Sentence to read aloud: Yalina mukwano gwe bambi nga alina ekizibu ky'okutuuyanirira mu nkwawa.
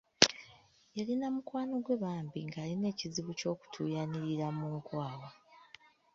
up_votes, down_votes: 0, 2